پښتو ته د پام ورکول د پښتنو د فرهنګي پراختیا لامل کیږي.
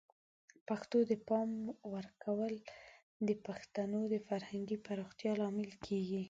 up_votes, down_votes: 2, 4